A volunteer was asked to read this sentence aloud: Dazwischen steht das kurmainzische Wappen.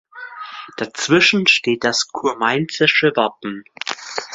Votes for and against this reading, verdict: 2, 0, accepted